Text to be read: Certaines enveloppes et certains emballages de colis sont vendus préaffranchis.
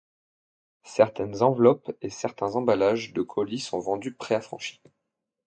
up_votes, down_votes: 2, 0